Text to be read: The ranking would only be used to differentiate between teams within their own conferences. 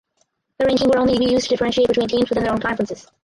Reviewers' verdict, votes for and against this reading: rejected, 0, 4